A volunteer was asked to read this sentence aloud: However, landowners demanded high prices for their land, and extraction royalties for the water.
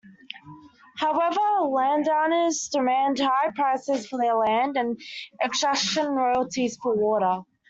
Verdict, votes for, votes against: rejected, 1, 2